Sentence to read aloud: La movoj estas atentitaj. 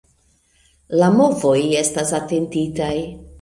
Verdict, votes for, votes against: accepted, 2, 0